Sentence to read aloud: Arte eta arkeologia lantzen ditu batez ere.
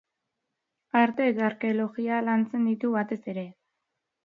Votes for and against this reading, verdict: 1, 2, rejected